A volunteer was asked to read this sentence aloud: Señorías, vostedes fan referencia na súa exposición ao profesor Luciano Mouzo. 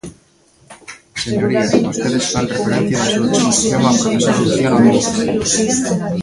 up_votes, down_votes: 0, 2